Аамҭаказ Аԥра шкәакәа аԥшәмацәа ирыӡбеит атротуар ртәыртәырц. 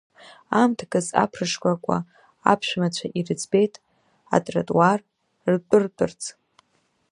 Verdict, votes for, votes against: accepted, 2, 0